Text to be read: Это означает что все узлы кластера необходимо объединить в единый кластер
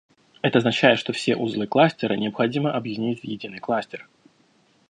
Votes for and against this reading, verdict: 2, 0, accepted